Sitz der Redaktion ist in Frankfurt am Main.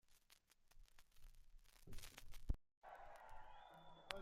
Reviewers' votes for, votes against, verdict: 0, 2, rejected